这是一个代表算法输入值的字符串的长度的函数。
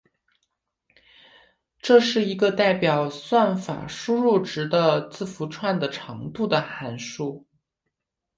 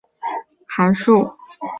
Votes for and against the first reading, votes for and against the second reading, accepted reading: 3, 1, 1, 2, first